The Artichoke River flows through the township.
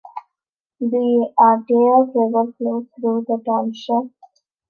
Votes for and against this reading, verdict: 0, 2, rejected